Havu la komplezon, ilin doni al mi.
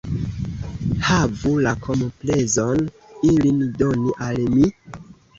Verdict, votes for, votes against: accepted, 2, 0